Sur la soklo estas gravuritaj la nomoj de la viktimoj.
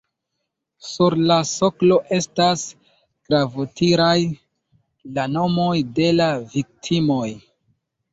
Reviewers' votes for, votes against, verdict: 1, 2, rejected